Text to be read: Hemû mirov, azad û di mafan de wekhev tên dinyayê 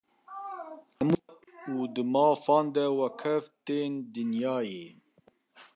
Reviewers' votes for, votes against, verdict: 1, 2, rejected